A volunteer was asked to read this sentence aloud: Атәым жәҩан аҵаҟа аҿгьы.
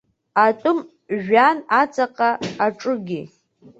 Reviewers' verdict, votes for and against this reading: rejected, 0, 2